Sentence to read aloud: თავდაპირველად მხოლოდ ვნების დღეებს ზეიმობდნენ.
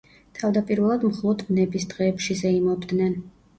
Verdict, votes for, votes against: rejected, 0, 2